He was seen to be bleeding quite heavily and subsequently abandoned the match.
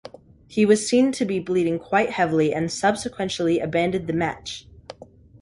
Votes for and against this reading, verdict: 3, 0, accepted